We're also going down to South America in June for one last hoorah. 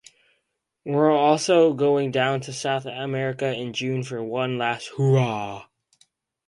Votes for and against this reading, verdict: 4, 0, accepted